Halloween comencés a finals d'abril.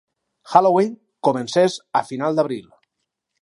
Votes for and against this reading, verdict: 2, 4, rejected